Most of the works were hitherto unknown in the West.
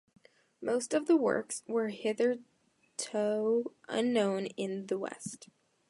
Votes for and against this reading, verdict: 0, 2, rejected